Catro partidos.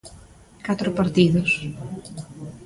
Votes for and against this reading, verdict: 2, 1, accepted